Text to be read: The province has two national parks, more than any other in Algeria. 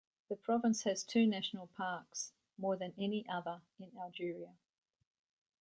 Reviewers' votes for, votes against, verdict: 2, 0, accepted